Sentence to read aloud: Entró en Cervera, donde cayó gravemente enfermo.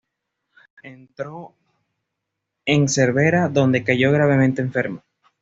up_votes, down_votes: 2, 0